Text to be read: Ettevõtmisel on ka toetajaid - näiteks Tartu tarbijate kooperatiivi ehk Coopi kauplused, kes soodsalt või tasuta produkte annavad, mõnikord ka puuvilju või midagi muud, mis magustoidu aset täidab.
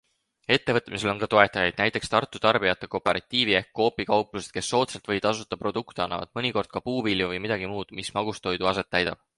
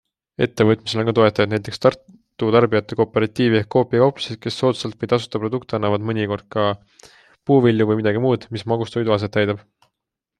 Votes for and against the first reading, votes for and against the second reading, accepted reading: 0, 4, 2, 1, second